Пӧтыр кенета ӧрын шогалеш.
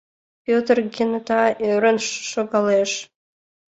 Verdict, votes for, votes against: accepted, 2, 1